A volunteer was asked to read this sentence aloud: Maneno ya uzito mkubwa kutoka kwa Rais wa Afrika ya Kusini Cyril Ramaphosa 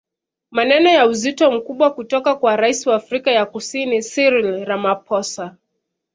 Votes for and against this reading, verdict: 2, 0, accepted